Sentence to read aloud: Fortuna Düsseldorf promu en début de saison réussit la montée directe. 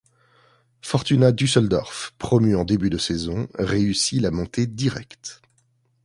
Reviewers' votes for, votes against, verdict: 3, 0, accepted